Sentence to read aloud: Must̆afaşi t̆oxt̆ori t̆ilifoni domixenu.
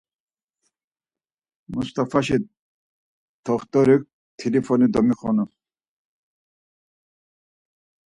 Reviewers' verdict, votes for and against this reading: accepted, 4, 0